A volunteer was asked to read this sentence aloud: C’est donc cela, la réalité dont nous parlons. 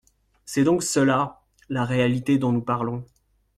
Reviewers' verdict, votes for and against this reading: accepted, 2, 0